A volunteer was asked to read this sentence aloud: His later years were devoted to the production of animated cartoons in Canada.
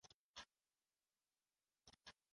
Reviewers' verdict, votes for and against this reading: rejected, 0, 2